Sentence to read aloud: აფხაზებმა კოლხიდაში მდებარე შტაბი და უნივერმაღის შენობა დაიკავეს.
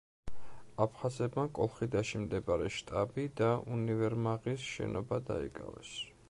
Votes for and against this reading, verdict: 2, 0, accepted